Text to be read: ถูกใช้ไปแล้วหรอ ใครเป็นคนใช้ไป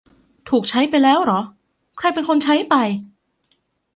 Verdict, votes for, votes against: accepted, 2, 0